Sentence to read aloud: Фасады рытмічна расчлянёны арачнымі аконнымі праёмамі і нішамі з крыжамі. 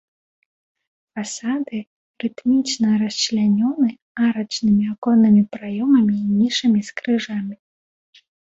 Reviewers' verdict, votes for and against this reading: accepted, 2, 0